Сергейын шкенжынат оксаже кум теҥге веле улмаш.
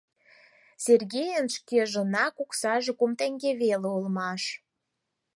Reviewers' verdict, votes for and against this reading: rejected, 0, 4